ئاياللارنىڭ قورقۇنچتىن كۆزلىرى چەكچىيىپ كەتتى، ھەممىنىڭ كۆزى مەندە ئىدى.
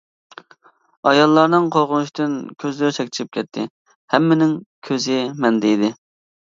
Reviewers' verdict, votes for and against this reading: accepted, 2, 1